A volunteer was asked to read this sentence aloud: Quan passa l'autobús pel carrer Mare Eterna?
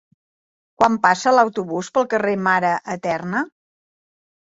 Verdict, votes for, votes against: accepted, 2, 1